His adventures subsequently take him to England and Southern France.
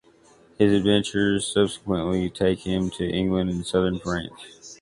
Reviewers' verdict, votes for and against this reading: accepted, 2, 0